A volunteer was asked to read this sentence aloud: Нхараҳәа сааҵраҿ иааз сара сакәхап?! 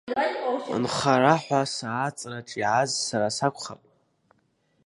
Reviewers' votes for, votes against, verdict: 0, 2, rejected